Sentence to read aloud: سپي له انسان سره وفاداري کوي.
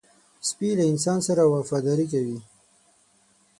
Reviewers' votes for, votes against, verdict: 6, 0, accepted